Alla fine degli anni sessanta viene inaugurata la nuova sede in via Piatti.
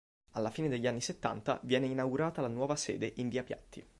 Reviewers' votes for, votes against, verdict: 1, 2, rejected